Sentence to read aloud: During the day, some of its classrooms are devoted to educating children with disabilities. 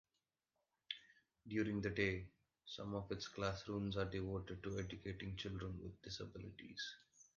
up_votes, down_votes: 2, 1